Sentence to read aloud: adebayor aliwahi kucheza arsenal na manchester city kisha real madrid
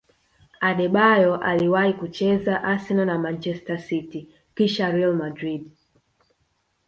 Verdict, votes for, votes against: rejected, 1, 2